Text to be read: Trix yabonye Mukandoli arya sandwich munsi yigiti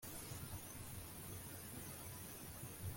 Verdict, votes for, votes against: rejected, 0, 2